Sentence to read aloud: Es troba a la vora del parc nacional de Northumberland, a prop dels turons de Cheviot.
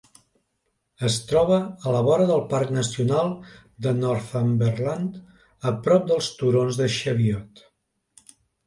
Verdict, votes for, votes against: accepted, 2, 0